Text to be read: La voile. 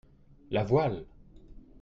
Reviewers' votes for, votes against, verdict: 2, 0, accepted